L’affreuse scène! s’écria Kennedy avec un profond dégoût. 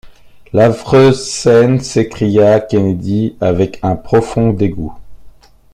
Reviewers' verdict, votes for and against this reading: accepted, 2, 0